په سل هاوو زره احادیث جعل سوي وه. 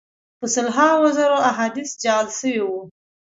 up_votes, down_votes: 0, 2